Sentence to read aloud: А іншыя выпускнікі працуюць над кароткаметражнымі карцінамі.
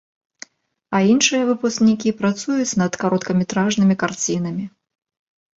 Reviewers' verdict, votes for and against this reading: accepted, 3, 0